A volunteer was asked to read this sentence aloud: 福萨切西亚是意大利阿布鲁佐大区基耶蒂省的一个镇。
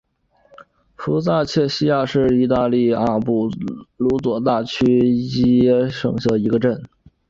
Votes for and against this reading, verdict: 2, 0, accepted